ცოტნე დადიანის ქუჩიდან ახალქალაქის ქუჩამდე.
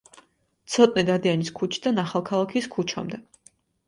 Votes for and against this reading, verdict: 2, 0, accepted